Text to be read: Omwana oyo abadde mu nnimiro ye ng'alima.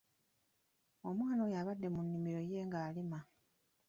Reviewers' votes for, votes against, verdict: 2, 0, accepted